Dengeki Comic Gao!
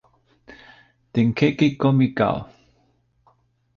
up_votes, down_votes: 2, 1